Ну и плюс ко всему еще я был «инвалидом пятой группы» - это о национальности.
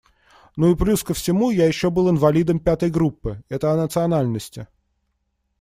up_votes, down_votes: 0, 2